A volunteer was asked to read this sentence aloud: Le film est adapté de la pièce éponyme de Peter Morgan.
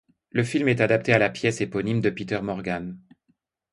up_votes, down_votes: 0, 2